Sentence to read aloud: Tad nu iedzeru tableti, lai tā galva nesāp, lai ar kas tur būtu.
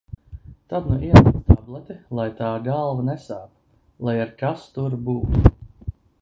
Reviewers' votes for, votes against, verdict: 1, 2, rejected